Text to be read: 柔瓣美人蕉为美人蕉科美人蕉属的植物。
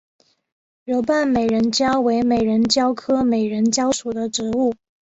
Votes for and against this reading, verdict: 3, 0, accepted